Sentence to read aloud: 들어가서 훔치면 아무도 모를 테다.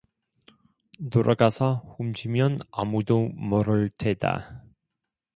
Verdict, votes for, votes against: accepted, 2, 0